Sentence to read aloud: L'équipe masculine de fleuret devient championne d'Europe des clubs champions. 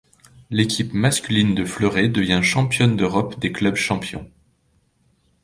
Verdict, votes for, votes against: accepted, 2, 0